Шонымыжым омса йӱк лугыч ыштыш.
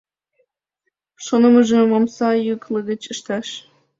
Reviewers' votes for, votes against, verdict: 3, 2, accepted